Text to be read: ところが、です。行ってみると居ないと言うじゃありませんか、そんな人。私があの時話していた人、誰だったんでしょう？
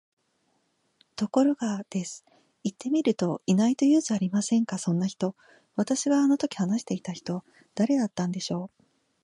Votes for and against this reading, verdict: 2, 0, accepted